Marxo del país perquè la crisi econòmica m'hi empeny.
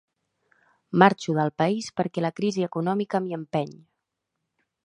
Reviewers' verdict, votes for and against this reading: rejected, 0, 2